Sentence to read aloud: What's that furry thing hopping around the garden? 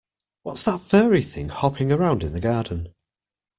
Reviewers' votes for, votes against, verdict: 0, 2, rejected